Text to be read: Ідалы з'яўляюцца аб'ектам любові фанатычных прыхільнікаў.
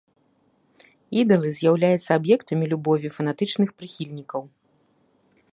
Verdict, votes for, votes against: rejected, 1, 3